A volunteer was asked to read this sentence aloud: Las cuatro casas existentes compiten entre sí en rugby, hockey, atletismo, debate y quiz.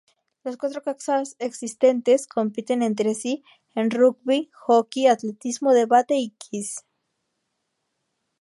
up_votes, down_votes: 2, 4